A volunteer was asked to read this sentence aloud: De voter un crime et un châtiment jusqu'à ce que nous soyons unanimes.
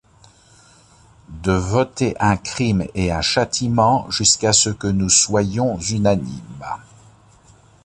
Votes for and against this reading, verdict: 2, 0, accepted